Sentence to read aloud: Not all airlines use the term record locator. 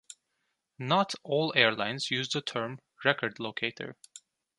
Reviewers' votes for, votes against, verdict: 1, 2, rejected